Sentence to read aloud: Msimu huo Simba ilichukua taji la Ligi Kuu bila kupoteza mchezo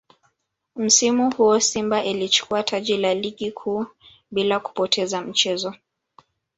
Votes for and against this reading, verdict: 1, 2, rejected